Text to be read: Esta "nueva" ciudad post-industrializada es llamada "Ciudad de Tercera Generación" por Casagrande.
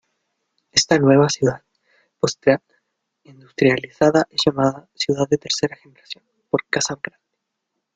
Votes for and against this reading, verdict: 0, 2, rejected